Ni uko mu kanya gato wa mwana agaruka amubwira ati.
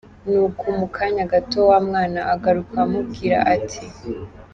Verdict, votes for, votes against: accepted, 2, 1